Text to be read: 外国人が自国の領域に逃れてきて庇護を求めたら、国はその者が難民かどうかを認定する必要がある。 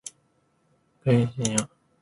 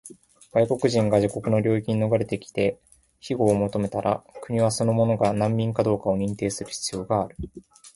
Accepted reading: second